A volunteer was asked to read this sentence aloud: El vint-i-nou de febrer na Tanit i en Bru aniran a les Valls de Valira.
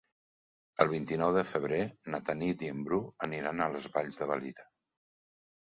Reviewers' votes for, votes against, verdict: 4, 0, accepted